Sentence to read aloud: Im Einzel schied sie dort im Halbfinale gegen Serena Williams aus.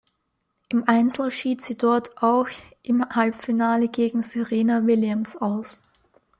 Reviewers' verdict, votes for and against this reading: rejected, 0, 2